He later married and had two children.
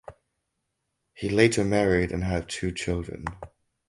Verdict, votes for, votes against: accepted, 4, 0